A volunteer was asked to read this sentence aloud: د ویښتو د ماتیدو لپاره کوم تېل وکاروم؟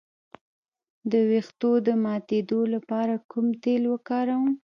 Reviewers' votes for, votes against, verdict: 1, 2, rejected